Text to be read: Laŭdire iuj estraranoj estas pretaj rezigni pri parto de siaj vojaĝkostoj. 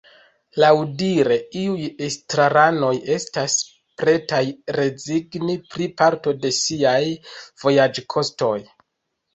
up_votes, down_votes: 2, 0